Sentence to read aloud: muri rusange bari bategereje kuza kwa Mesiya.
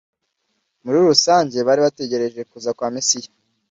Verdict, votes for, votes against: accepted, 2, 0